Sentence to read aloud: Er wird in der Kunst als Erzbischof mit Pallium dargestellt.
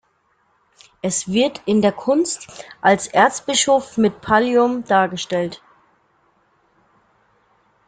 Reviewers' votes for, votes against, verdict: 0, 2, rejected